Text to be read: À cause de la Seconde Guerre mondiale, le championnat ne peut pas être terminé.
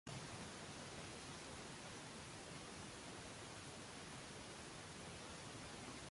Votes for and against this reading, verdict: 0, 2, rejected